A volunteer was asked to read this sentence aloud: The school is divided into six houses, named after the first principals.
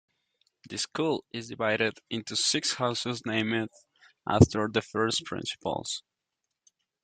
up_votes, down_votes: 0, 2